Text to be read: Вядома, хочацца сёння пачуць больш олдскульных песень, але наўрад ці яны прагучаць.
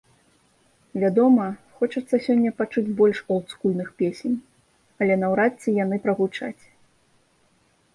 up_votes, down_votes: 2, 0